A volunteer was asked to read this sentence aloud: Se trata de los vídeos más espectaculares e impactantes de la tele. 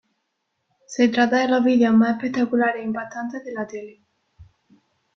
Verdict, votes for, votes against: rejected, 1, 2